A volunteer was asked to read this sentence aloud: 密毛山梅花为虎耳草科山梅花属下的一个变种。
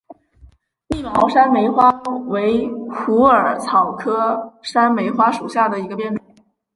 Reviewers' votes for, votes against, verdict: 0, 2, rejected